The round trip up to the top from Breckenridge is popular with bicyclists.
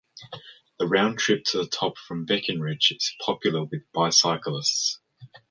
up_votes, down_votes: 0, 2